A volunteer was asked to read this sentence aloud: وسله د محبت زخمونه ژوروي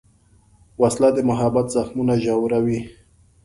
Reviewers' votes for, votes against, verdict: 2, 0, accepted